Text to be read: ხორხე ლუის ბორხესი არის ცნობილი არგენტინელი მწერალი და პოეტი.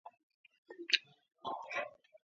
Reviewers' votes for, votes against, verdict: 0, 2, rejected